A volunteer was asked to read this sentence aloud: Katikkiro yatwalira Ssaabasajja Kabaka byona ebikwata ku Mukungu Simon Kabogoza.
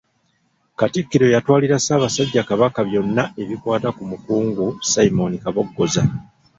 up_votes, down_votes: 0, 2